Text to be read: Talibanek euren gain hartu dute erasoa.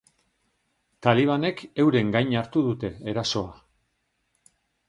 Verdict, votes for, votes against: accepted, 2, 0